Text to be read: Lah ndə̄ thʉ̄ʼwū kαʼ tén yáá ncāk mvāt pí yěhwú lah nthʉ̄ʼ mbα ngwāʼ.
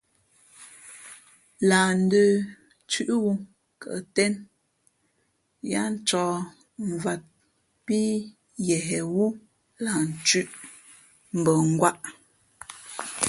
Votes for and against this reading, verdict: 2, 0, accepted